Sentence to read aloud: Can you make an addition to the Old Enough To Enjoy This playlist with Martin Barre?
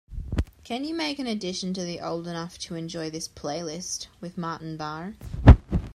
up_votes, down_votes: 2, 0